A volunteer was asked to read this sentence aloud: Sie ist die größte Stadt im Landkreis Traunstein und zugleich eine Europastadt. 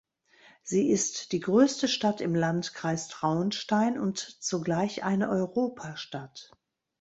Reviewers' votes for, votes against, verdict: 2, 1, accepted